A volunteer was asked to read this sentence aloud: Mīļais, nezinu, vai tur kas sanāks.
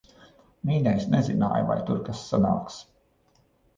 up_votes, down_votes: 0, 2